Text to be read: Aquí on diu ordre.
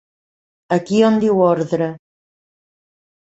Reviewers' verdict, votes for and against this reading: accepted, 2, 0